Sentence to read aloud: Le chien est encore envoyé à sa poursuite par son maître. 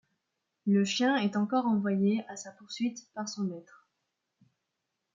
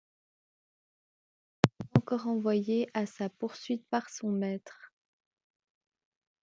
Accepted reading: first